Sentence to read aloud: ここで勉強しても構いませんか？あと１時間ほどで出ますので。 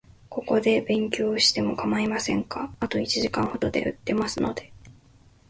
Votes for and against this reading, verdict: 0, 2, rejected